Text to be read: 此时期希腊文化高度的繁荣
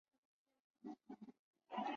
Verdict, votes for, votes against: rejected, 0, 4